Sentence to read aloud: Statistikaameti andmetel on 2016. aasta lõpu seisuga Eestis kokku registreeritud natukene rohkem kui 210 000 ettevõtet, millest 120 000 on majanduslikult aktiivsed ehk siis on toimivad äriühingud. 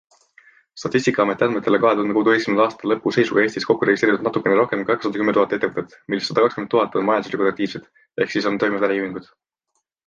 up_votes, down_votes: 0, 2